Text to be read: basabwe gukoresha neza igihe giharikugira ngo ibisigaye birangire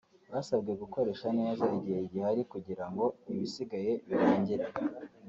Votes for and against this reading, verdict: 3, 0, accepted